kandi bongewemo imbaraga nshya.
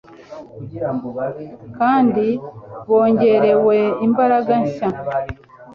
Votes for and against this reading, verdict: 0, 2, rejected